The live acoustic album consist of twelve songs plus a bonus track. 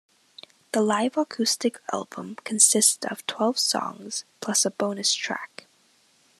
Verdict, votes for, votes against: accepted, 2, 0